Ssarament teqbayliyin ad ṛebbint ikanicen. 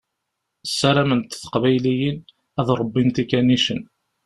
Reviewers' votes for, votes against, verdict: 2, 0, accepted